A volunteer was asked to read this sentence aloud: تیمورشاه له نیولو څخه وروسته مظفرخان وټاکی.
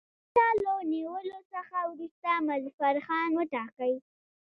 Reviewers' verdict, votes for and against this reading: accepted, 2, 0